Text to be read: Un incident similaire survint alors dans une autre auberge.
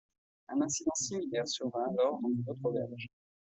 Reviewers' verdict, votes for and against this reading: rejected, 0, 2